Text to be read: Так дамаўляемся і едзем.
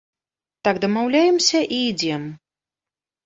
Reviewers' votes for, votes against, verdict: 0, 2, rejected